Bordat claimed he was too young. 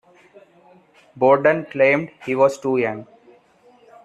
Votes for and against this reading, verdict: 2, 0, accepted